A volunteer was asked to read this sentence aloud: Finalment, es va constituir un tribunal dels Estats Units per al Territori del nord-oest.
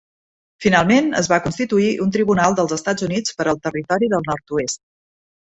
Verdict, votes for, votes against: accepted, 4, 0